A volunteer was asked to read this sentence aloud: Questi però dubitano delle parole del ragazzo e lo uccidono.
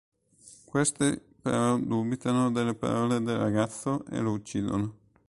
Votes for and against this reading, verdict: 1, 2, rejected